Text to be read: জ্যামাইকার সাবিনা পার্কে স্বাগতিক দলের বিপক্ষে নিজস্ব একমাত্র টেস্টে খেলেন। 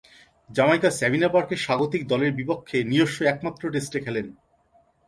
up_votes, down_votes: 2, 1